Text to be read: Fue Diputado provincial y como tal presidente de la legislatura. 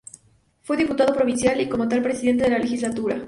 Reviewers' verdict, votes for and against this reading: accepted, 2, 0